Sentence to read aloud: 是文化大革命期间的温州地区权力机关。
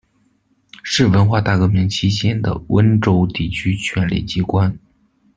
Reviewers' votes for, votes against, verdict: 2, 0, accepted